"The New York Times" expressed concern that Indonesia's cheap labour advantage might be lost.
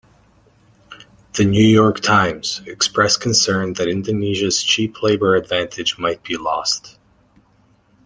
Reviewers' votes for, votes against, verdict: 2, 0, accepted